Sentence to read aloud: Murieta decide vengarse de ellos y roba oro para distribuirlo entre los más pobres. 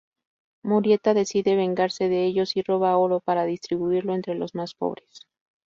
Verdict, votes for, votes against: accepted, 2, 0